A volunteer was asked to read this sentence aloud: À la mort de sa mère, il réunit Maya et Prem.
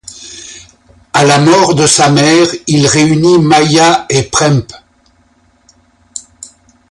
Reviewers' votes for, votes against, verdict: 0, 2, rejected